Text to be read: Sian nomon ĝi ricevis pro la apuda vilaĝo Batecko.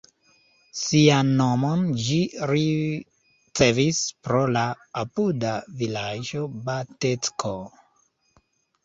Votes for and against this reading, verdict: 1, 2, rejected